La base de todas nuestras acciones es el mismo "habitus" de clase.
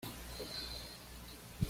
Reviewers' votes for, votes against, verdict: 1, 2, rejected